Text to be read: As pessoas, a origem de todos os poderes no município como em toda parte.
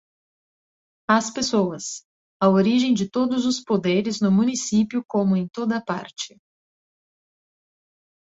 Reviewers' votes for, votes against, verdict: 2, 0, accepted